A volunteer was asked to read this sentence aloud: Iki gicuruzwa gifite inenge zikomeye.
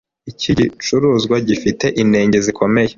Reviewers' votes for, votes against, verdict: 2, 3, rejected